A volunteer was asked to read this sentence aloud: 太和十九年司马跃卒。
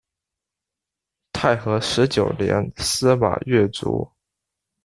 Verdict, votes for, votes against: accepted, 2, 0